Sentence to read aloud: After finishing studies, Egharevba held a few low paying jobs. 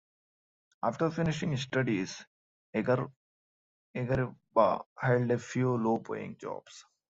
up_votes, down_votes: 0, 2